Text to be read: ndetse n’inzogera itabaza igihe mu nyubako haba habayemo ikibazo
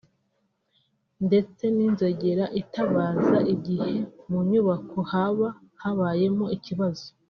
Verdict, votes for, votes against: rejected, 0, 2